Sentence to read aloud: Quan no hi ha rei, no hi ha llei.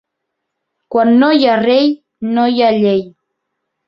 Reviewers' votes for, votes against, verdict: 2, 0, accepted